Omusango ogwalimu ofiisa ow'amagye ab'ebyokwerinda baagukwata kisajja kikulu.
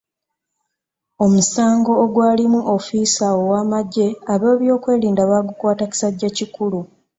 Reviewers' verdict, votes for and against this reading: accepted, 2, 0